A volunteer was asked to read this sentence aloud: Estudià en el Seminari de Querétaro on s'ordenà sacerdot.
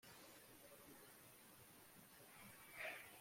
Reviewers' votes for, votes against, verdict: 0, 2, rejected